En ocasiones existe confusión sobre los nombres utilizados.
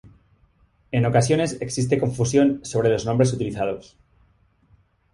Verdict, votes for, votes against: accepted, 2, 0